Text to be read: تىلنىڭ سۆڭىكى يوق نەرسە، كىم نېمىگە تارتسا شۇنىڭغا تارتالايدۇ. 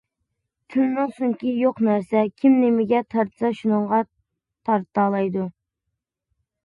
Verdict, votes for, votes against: accepted, 2, 1